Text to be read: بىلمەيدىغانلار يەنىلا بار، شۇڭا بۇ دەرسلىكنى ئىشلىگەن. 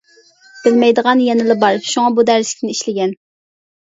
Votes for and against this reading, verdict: 0, 2, rejected